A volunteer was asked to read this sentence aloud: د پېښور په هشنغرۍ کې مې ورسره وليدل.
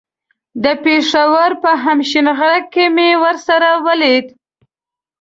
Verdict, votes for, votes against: rejected, 1, 2